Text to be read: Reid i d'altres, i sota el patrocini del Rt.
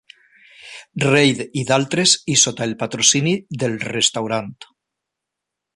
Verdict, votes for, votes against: rejected, 0, 2